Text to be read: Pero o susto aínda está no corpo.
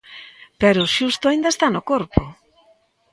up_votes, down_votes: 1, 2